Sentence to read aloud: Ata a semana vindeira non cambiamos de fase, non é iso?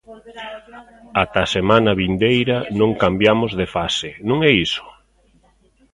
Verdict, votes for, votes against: rejected, 1, 2